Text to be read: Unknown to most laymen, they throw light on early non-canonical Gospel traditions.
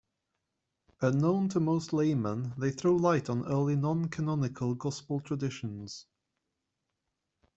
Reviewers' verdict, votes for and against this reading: accepted, 2, 0